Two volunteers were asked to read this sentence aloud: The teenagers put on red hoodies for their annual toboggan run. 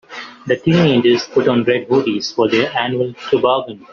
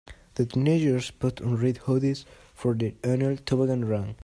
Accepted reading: second